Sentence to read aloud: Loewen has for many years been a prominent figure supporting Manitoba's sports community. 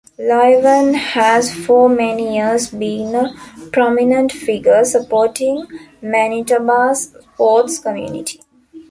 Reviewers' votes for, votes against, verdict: 1, 2, rejected